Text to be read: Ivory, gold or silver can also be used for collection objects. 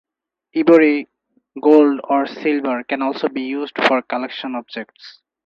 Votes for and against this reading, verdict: 0, 2, rejected